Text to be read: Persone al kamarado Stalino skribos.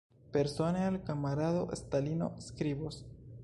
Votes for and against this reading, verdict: 3, 2, accepted